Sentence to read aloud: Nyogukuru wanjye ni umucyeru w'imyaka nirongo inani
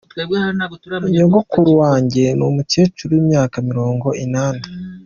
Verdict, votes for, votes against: accepted, 2, 0